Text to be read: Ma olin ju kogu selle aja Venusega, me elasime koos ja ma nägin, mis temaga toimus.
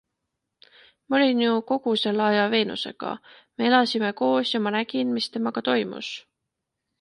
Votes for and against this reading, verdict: 2, 0, accepted